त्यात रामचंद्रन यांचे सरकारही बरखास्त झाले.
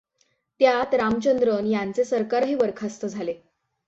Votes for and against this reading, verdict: 6, 0, accepted